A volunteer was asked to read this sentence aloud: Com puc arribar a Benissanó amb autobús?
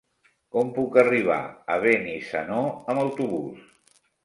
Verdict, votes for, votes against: rejected, 2, 3